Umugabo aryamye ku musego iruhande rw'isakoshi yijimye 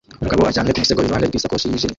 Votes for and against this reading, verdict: 0, 2, rejected